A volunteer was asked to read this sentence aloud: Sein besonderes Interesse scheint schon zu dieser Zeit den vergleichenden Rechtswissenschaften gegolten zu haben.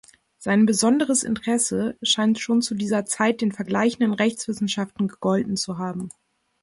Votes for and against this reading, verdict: 2, 0, accepted